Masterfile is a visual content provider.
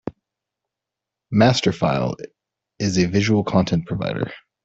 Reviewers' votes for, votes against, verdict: 2, 0, accepted